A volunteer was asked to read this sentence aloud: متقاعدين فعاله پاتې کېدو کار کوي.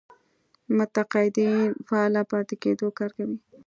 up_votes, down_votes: 1, 2